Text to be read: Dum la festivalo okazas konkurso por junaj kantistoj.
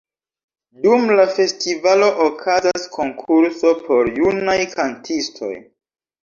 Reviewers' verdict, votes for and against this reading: rejected, 1, 2